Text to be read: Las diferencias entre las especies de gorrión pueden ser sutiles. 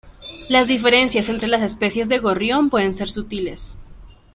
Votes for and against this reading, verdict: 2, 0, accepted